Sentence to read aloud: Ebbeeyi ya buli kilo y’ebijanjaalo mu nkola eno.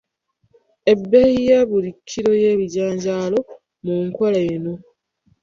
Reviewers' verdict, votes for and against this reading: rejected, 1, 2